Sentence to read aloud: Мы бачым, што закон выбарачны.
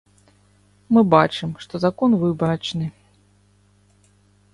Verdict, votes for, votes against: accepted, 2, 0